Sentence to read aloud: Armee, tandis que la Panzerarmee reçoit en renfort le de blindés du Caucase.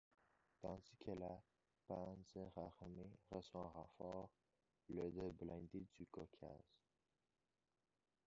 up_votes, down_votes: 0, 2